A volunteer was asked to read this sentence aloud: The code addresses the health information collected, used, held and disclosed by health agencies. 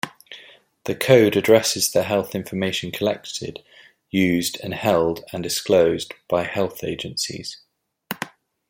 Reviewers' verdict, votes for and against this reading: rejected, 0, 2